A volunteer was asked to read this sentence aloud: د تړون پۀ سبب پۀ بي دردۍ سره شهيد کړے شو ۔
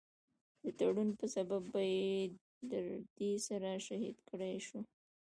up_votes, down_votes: 0, 2